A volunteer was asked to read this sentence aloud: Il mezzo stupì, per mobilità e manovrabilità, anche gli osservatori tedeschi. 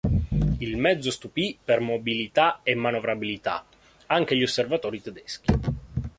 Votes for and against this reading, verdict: 2, 0, accepted